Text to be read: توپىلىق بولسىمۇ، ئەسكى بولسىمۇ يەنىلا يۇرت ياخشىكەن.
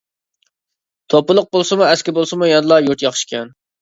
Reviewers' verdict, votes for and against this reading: accepted, 2, 0